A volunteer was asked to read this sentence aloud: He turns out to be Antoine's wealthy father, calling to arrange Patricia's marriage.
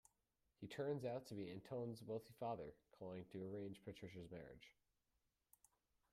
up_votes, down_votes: 0, 2